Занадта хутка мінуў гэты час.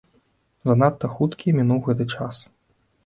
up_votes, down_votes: 0, 2